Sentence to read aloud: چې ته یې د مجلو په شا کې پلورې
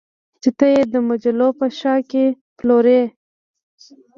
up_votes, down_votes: 0, 2